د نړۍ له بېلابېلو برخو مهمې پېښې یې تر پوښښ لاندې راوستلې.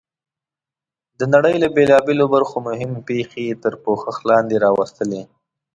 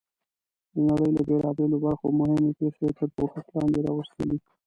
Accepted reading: first